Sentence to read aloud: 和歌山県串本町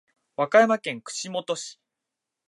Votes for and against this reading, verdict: 0, 2, rejected